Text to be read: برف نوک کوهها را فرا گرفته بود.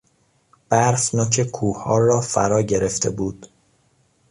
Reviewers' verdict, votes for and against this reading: accepted, 2, 0